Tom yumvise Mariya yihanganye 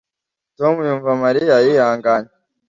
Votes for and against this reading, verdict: 1, 2, rejected